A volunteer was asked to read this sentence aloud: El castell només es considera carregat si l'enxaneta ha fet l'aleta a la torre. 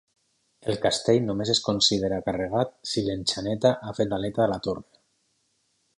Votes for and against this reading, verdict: 4, 0, accepted